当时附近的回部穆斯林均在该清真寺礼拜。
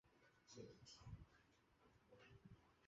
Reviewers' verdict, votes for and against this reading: rejected, 0, 3